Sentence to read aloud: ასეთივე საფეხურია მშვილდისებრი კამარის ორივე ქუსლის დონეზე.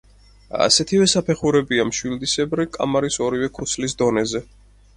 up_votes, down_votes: 2, 4